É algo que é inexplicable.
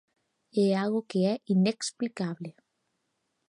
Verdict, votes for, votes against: accepted, 2, 0